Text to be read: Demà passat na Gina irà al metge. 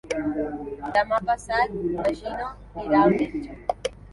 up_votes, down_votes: 2, 0